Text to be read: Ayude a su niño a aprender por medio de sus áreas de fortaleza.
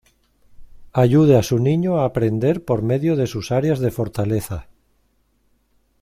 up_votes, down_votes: 2, 0